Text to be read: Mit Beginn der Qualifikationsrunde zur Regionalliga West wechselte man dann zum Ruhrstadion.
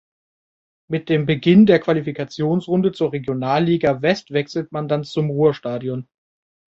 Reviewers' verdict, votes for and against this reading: rejected, 1, 2